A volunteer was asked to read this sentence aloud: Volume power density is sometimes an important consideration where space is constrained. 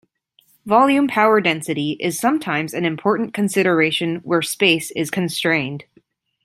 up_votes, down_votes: 2, 0